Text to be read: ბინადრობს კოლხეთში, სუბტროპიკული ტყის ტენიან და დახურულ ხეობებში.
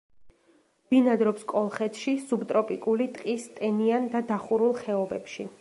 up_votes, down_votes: 2, 0